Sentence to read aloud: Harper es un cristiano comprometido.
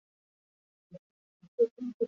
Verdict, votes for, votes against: rejected, 0, 2